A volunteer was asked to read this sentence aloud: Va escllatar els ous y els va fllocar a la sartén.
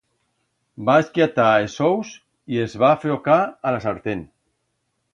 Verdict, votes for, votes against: accepted, 2, 0